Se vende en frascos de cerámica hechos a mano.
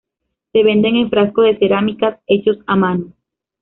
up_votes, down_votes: 1, 2